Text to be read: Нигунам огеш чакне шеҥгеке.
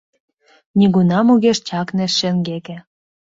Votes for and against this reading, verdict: 2, 0, accepted